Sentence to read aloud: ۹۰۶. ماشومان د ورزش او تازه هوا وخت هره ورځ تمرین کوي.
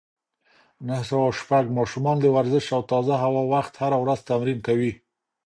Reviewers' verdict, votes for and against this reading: rejected, 0, 2